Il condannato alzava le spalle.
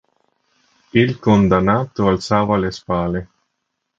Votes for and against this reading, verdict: 1, 3, rejected